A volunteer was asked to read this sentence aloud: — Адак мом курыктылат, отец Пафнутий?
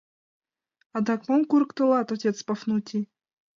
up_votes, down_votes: 2, 1